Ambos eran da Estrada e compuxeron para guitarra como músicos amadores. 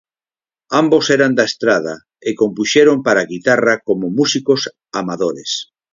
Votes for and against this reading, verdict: 4, 0, accepted